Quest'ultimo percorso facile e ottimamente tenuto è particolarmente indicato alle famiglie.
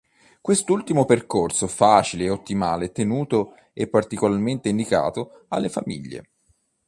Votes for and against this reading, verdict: 1, 2, rejected